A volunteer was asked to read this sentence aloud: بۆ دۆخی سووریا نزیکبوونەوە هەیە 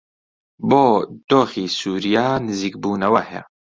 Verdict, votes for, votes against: accepted, 2, 0